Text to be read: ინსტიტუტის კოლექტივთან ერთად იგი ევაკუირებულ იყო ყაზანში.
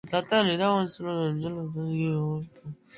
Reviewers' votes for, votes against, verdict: 0, 2, rejected